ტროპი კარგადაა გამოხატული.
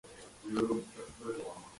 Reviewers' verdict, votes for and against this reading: rejected, 0, 2